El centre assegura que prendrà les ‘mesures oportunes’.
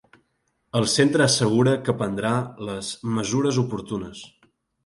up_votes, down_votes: 2, 0